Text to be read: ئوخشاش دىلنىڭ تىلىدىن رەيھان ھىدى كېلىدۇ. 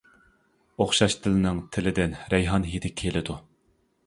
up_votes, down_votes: 2, 0